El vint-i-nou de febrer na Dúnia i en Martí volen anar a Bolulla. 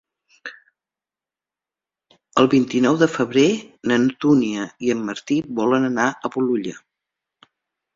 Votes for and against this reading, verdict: 0, 2, rejected